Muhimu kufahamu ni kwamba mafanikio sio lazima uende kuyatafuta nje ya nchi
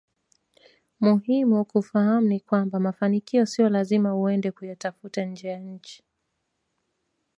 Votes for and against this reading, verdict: 2, 1, accepted